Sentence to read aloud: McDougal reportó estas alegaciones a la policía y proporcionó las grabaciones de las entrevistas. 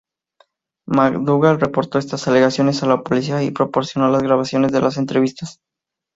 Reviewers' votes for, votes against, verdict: 2, 0, accepted